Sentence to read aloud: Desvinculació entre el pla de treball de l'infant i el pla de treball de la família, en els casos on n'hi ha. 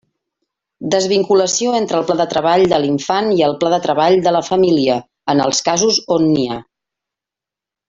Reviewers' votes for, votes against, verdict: 3, 0, accepted